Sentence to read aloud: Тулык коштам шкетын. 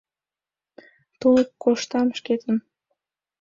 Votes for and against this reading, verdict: 2, 0, accepted